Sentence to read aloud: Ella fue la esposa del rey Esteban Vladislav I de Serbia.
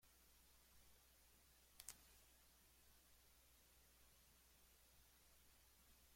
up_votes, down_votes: 0, 2